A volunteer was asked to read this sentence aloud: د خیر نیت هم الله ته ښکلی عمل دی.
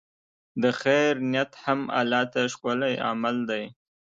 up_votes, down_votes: 2, 0